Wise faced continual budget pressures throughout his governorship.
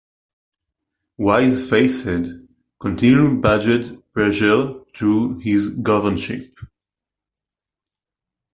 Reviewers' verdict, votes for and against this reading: rejected, 0, 2